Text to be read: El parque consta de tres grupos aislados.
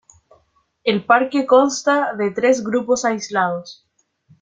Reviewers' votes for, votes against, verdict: 2, 0, accepted